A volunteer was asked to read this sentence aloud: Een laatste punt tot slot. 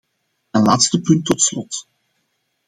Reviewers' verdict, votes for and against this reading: accepted, 2, 0